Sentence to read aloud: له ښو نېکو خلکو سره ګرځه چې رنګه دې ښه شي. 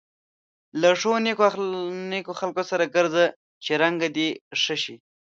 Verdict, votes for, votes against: rejected, 1, 2